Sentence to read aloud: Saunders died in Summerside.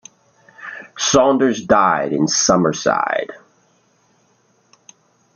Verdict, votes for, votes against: accepted, 2, 0